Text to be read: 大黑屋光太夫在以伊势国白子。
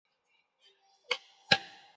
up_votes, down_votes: 0, 5